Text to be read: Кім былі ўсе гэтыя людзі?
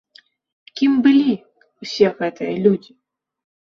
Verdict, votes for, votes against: accepted, 2, 0